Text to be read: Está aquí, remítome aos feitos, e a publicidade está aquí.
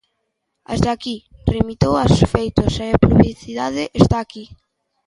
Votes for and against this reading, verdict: 0, 2, rejected